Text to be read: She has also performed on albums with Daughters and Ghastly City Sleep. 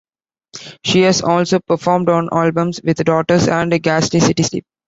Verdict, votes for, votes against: rejected, 1, 2